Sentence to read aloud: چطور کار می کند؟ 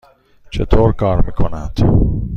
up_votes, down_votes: 2, 0